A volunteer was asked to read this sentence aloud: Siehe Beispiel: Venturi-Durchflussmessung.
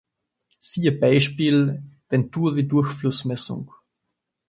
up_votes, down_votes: 2, 0